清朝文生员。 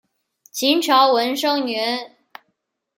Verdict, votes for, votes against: rejected, 1, 2